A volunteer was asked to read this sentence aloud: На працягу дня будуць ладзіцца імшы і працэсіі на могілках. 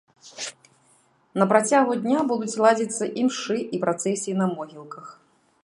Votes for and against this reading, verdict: 2, 0, accepted